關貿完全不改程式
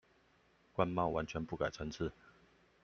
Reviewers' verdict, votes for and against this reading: rejected, 1, 2